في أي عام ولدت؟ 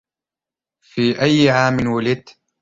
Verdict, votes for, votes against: accepted, 2, 0